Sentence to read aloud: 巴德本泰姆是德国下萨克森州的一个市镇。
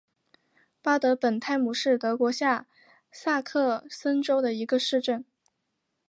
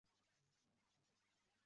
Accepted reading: first